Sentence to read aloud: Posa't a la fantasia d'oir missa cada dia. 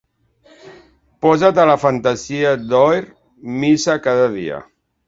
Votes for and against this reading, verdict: 2, 0, accepted